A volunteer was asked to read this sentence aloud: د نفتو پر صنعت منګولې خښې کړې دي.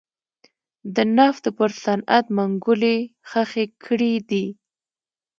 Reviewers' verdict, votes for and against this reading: accepted, 2, 0